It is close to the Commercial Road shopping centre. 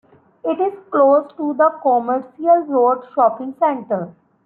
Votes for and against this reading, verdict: 2, 0, accepted